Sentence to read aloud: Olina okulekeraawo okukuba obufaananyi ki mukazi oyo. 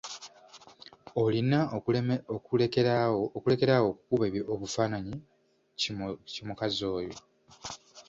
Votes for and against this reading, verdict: 0, 2, rejected